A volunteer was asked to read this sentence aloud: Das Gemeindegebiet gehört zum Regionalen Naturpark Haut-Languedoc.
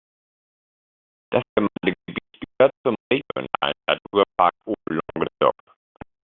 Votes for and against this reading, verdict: 0, 2, rejected